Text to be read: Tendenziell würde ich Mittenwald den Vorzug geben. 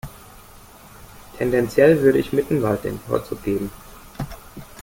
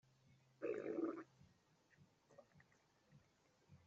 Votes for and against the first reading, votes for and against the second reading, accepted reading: 2, 0, 0, 2, first